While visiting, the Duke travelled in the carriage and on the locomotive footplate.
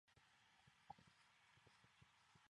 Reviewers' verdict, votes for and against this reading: rejected, 0, 2